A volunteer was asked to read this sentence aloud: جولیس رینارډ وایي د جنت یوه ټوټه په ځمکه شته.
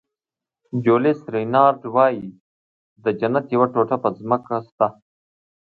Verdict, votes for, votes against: accepted, 2, 0